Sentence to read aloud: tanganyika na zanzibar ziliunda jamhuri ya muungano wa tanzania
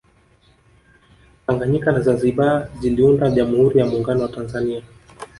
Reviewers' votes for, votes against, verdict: 2, 0, accepted